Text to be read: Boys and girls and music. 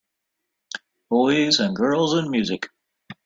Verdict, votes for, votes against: accepted, 2, 0